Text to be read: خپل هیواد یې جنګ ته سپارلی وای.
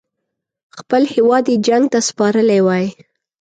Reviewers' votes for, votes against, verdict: 2, 0, accepted